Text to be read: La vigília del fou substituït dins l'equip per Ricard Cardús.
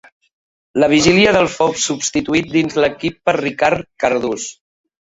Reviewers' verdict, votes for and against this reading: accepted, 2, 0